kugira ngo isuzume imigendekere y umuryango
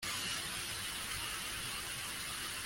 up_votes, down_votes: 0, 2